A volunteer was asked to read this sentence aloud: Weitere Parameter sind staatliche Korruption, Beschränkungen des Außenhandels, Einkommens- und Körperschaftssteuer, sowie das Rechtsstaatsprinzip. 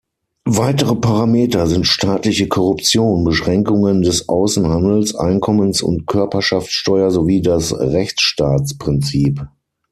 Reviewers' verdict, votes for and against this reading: accepted, 6, 3